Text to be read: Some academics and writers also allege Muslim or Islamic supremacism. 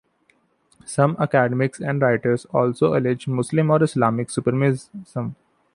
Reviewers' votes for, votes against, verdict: 1, 2, rejected